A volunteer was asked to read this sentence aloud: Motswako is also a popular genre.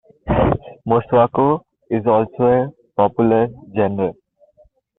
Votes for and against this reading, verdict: 2, 0, accepted